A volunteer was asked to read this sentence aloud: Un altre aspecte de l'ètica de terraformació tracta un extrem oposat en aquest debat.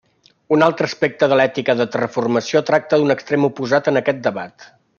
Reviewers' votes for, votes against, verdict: 0, 2, rejected